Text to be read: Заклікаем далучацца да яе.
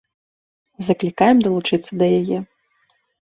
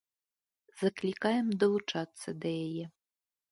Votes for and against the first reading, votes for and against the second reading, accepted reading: 0, 2, 2, 0, second